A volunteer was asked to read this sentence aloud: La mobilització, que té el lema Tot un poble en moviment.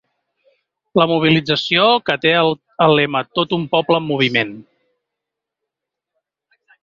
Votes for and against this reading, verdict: 2, 1, accepted